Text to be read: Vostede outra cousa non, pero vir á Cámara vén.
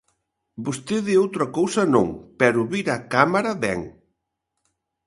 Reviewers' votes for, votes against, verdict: 2, 0, accepted